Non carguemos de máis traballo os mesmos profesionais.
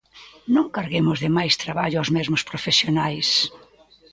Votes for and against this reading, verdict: 1, 2, rejected